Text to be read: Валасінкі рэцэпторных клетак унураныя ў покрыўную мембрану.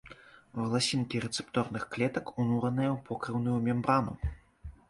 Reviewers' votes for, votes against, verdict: 2, 0, accepted